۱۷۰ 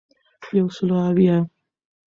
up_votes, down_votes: 0, 2